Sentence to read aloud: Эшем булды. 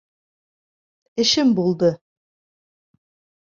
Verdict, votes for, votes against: accepted, 2, 0